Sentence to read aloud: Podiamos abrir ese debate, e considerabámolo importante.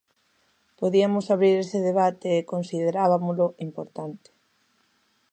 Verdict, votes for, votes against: rejected, 0, 2